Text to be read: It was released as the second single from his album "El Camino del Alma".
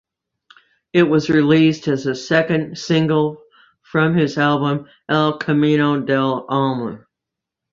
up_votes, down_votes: 2, 0